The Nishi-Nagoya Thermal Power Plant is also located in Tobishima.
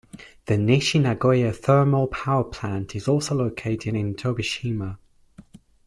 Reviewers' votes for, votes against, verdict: 2, 0, accepted